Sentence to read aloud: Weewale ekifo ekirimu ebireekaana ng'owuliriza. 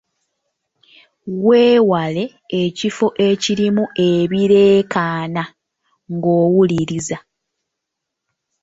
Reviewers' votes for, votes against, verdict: 2, 0, accepted